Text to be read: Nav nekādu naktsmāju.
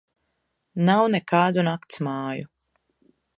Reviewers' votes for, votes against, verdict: 2, 0, accepted